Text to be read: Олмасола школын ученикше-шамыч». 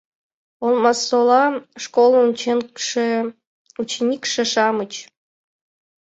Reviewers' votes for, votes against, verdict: 1, 2, rejected